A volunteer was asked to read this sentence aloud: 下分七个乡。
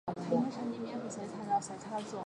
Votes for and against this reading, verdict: 0, 4, rejected